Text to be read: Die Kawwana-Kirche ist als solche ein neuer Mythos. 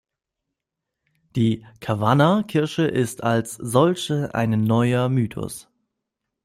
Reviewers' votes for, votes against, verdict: 0, 2, rejected